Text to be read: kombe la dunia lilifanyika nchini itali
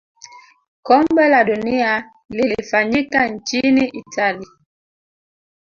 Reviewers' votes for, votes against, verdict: 0, 2, rejected